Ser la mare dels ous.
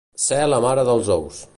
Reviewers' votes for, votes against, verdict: 2, 0, accepted